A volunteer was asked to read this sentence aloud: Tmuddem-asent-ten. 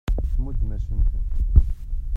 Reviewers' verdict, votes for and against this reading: rejected, 0, 2